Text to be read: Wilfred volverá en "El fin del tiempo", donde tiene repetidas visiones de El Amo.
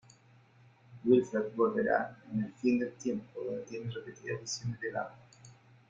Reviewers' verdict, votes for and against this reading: rejected, 1, 2